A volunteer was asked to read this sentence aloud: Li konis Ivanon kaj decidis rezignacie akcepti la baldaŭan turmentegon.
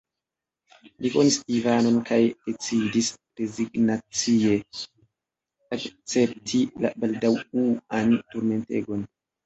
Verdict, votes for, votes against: rejected, 0, 3